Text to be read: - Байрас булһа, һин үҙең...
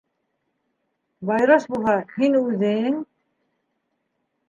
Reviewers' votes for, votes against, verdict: 1, 2, rejected